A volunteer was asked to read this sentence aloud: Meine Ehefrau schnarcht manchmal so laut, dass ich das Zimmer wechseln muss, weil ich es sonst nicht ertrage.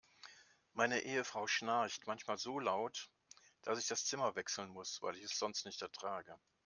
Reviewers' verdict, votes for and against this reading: accepted, 2, 0